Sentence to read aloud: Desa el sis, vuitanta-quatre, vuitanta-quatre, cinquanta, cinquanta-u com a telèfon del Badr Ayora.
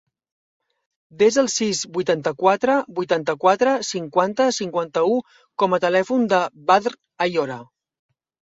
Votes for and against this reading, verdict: 1, 2, rejected